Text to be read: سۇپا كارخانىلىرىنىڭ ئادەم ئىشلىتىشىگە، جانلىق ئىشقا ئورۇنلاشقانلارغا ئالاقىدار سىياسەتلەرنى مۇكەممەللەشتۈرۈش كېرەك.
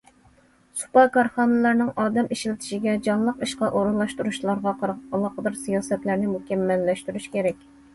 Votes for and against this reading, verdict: 0, 2, rejected